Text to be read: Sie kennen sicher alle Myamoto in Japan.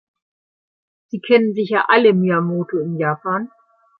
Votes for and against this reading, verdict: 2, 0, accepted